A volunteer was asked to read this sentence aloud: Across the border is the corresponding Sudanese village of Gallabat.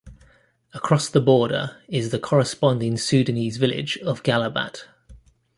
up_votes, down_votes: 2, 0